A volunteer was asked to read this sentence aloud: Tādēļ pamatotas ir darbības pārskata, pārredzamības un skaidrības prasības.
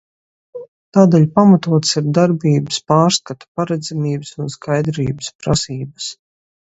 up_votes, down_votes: 0, 2